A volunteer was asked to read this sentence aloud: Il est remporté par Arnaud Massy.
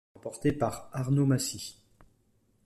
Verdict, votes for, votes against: rejected, 0, 2